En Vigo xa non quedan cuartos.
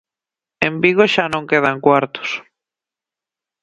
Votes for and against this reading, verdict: 2, 0, accepted